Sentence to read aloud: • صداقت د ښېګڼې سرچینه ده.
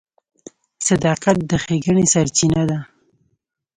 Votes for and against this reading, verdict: 2, 0, accepted